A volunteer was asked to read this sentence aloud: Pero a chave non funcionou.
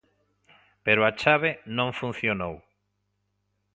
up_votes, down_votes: 2, 0